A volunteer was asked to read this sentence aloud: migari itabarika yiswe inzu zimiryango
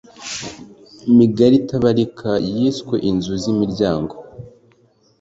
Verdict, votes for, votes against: accepted, 2, 0